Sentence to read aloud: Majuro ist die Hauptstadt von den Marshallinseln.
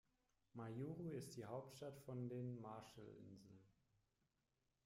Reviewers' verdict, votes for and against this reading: rejected, 1, 2